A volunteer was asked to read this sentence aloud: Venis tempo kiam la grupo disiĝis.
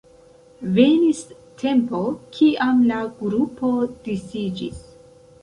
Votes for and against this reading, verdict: 0, 2, rejected